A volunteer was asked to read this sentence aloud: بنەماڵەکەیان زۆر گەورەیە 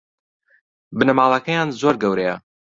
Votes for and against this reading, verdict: 2, 0, accepted